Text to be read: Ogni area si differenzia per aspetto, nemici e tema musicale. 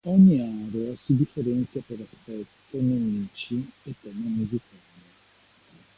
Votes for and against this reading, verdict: 1, 2, rejected